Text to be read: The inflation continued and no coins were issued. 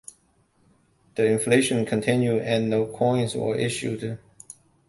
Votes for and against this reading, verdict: 2, 0, accepted